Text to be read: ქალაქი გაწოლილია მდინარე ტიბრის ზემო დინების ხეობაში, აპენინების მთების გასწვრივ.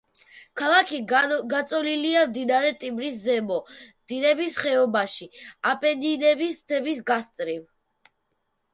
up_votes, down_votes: 0, 2